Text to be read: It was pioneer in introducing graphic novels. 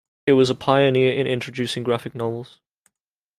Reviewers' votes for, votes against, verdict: 2, 0, accepted